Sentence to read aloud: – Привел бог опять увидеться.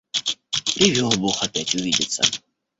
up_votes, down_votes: 1, 2